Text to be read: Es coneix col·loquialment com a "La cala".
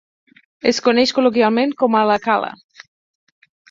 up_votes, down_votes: 4, 0